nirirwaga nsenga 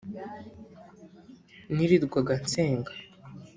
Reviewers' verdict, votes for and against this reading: rejected, 1, 2